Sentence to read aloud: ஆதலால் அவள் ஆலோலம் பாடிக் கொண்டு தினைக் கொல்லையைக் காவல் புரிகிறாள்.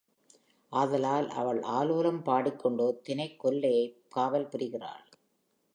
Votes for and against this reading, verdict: 3, 0, accepted